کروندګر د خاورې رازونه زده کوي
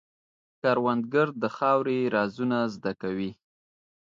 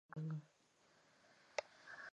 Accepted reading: first